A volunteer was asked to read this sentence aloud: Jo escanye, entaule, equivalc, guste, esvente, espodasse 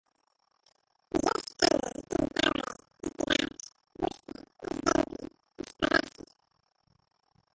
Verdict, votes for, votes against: rejected, 0, 2